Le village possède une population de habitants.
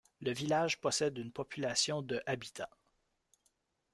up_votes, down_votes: 2, 0